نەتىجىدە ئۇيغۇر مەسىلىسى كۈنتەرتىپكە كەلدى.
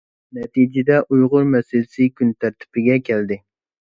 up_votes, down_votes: 0, 2